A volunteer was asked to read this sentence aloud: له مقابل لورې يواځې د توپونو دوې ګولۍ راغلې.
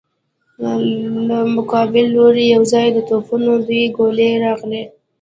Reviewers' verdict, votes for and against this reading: rejected, 0, 2